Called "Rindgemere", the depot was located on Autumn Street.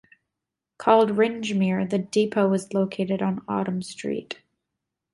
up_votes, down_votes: 2, 0